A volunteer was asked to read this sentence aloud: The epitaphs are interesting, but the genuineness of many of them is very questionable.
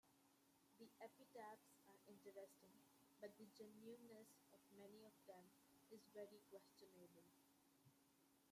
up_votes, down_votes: 2, 0